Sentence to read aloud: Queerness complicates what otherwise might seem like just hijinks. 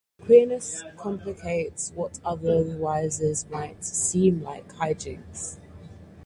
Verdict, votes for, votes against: rejected, 2, 4